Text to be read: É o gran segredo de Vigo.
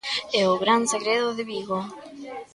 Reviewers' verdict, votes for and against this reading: accepted, 2, 1